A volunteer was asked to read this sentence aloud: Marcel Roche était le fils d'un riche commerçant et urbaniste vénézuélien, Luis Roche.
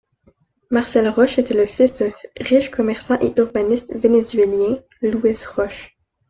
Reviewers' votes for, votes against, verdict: 0, 2, rejected